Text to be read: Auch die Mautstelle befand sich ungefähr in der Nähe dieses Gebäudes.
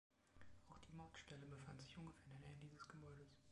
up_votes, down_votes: 2, 1